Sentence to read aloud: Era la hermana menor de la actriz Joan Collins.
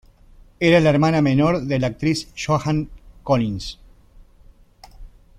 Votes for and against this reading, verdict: 0, 2, rejected